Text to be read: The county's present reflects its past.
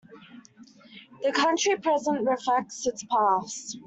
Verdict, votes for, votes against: rejected, 0, 2